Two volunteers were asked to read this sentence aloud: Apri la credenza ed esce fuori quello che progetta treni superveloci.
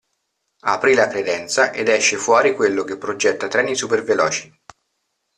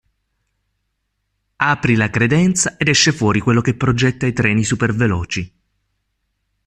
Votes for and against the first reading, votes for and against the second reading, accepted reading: 2, 0, 0, 2, first